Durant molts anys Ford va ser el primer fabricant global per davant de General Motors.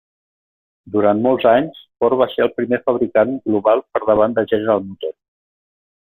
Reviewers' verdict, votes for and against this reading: rejected, 1, 2